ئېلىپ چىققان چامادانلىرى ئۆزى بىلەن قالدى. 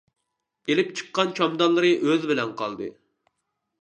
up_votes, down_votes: 1, 2